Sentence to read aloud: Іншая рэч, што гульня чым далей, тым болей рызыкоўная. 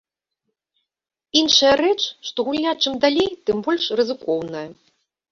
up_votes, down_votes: 1, 2